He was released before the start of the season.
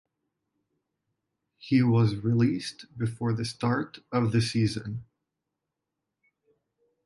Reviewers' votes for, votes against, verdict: 4, 0, accepted